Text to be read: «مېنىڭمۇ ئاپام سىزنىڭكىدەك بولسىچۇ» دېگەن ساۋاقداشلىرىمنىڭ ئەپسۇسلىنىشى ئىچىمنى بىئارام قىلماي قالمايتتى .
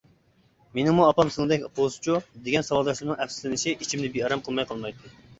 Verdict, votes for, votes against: rejected, 0, 2